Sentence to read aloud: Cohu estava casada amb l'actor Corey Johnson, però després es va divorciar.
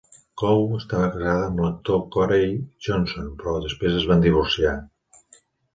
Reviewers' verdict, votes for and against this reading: rejected, 1, 2